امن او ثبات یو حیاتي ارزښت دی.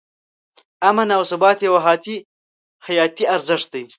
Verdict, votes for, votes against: rejected, 0, 2